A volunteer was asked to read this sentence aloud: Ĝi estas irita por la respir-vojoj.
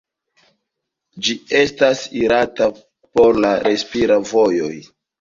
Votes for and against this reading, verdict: 1, 2, rejected